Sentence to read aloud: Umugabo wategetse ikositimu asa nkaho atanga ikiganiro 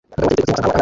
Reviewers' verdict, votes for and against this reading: rejected, 0, 2